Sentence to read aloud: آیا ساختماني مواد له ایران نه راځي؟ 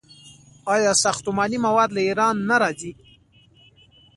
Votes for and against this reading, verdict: 1, 2, rejected